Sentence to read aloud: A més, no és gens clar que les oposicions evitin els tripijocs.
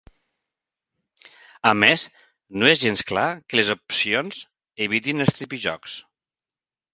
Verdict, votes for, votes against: rejected, 0, 2